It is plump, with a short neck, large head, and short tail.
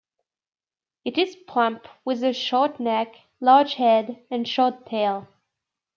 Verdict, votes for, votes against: accepted, 2, 0